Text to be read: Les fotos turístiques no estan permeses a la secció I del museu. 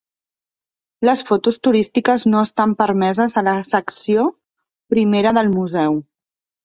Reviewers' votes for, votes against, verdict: 3, 0, accepted